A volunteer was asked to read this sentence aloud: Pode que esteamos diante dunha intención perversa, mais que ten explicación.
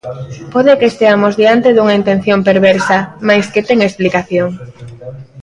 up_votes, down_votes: 1, 2